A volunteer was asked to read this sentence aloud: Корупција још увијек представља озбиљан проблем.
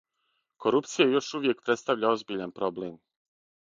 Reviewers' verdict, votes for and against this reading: accepted, 6, 0